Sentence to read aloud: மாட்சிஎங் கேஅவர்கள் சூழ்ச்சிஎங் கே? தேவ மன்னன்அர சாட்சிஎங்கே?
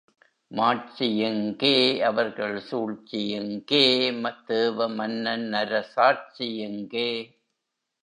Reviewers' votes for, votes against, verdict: 0, 2, rejected